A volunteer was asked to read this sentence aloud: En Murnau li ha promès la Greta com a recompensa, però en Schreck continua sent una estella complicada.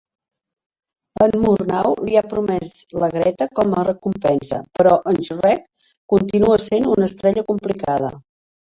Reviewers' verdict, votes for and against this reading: rejected, 1, 2